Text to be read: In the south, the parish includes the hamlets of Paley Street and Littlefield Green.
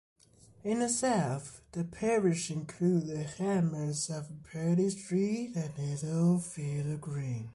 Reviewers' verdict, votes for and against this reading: accepted, 2, 0